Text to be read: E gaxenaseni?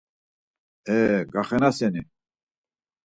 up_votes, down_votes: 4, 0